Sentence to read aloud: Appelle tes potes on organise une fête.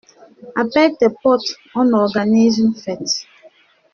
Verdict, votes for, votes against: accepted, 2, 0